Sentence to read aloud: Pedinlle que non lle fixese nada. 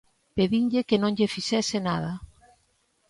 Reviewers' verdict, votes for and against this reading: accepted, 2, 0